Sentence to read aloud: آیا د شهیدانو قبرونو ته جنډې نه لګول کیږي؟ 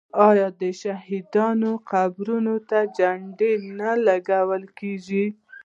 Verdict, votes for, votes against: accepted, 2, 0